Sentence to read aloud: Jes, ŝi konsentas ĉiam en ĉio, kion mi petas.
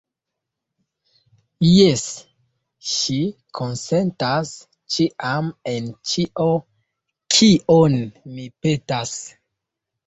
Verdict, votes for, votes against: accepted, 2, 0